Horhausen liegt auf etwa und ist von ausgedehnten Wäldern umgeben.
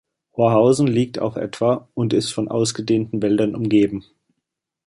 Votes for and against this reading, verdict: 2, 1, accepted